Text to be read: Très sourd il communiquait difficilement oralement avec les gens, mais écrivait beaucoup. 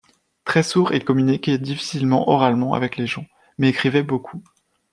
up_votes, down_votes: 2, 0